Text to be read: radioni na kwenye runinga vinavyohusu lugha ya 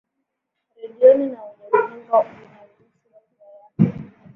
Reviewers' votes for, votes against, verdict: 0, 2, rejected